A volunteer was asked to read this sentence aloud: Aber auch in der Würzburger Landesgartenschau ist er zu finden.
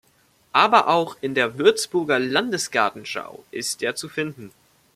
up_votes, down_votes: 2, 0